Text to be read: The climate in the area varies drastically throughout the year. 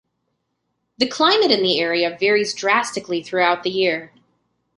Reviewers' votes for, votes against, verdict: 2, 0, accepted